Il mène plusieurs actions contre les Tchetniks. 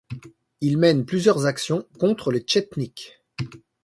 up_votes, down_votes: 2, 0